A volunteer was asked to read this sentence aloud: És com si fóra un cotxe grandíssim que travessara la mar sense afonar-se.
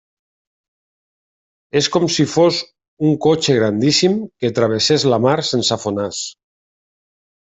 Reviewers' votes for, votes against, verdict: 1, 2, rejected